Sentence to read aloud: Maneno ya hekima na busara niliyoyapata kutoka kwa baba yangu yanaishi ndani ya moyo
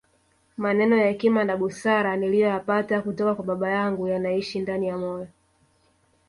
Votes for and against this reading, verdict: 2, 0, accepted